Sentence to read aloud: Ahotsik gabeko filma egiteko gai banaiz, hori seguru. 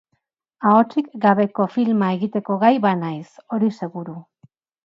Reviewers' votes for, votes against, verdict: 2, 0, accepted